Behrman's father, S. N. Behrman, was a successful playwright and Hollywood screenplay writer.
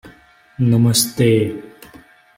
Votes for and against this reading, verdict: 0, 2, rejected